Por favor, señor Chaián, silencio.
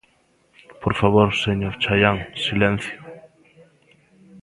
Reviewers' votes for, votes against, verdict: 2, 0, accepted